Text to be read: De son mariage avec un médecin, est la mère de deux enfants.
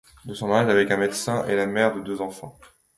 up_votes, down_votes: 2, 0